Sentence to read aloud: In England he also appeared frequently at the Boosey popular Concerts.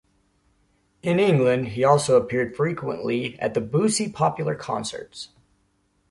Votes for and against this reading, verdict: 2, 0, accepted